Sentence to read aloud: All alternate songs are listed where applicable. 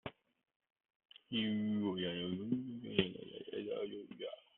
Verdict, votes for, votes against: rejected, 0, 2